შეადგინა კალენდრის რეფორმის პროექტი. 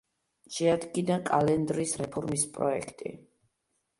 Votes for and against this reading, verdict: 2, 0, accepted